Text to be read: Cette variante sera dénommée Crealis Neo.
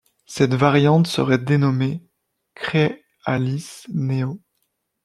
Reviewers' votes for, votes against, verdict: 1, 3, rejected